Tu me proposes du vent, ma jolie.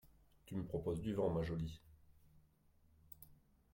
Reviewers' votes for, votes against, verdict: 0, 2, rejected